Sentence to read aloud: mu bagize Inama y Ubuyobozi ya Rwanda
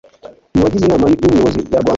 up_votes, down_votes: 2, 0